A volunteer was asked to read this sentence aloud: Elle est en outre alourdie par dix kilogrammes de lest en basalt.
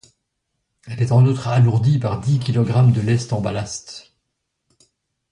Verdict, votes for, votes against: rejected, 0, 2